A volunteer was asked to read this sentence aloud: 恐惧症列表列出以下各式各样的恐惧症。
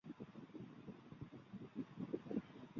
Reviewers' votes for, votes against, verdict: 1, 2, rejected